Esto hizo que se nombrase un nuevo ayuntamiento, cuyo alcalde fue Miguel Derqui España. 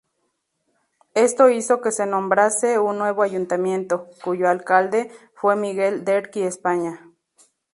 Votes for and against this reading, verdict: 2, 0, accepted